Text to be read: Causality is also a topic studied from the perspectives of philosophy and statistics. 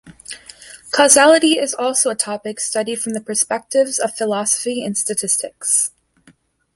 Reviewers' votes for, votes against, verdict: 2, 0, accepted